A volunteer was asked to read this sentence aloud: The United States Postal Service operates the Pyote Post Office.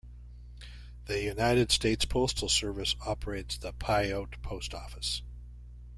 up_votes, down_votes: 2, 0